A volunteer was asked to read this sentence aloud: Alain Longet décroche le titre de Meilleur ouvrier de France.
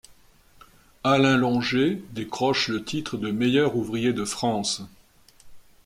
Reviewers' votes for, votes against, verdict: 2, 0, accepted